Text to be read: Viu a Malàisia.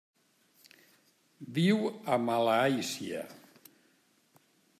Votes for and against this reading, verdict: 0, 2, rejected